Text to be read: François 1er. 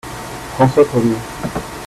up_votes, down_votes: 0, 2